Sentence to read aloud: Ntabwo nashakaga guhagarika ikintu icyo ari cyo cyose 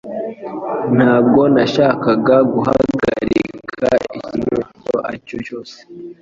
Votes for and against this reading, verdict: 2, 1, accepted